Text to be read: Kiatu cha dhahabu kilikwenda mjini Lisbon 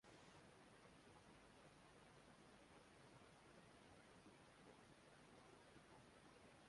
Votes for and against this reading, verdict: 0, 2, rejected